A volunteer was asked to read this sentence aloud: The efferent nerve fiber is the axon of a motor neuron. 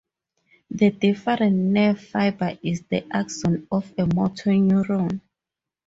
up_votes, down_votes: 0, 2